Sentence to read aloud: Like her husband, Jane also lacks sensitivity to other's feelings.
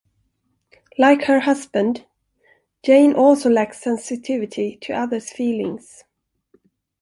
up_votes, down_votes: 2, 0